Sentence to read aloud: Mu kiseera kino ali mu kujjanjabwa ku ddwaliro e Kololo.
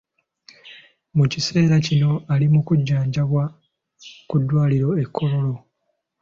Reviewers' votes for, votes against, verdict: 3, 0, accepted